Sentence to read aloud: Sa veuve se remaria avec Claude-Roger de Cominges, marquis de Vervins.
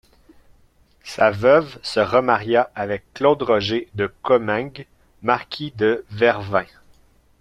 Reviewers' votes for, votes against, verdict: 1, 2, rejected